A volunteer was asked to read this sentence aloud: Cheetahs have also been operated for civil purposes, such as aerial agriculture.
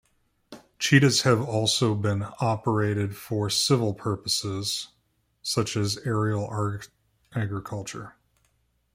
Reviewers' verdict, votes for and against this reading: rejected, 0, 2